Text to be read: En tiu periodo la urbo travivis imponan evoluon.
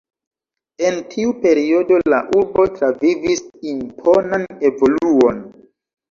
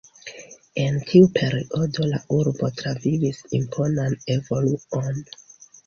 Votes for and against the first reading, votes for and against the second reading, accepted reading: 1, 2, 2, 0, second